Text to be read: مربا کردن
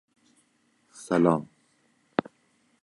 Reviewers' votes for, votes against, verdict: 0, 2, rejected